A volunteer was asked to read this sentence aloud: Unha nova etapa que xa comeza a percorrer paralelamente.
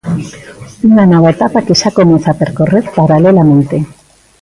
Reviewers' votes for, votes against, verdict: 0, 2, rejected